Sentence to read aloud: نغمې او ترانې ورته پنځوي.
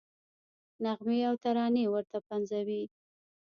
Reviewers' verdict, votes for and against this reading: rejected, 0, 2